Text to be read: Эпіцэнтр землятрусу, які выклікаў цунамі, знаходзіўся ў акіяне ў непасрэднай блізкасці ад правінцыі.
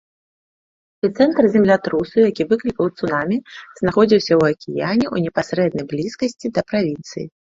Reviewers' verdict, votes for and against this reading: rejected, 0, 2